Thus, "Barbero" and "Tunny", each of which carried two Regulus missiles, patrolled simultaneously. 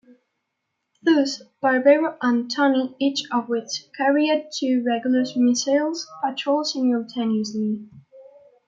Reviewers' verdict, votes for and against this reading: accepted, 2, 0